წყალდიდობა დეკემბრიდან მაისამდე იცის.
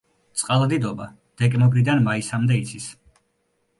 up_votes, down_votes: 0, 2